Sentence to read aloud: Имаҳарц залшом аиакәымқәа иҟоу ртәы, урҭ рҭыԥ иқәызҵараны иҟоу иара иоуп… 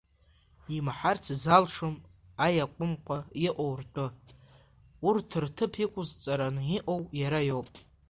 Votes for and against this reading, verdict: 2, 1, accepted